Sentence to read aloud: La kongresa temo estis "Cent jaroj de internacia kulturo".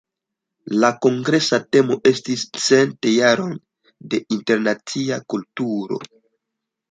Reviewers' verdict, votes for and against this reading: rejected, 1, 2